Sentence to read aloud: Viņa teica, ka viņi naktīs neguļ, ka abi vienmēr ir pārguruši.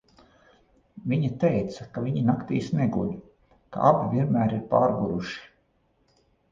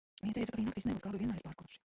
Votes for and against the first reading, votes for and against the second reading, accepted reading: 2, 0, 0, 2, first